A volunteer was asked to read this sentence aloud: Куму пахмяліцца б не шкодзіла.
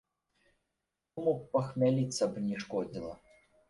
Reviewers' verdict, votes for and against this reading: rejected, 1, 2